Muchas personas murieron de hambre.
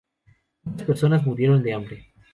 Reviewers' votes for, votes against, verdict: 0, 2, rejected